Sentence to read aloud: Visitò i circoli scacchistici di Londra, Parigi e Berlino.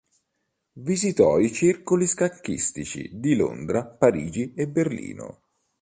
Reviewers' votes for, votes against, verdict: 3, 0, accepted